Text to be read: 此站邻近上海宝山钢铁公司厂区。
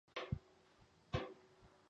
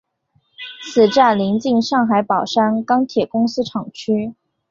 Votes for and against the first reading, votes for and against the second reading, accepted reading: 1, 3, 2, 0, second